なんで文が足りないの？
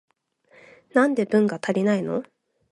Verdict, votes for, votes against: accepted, 2, 0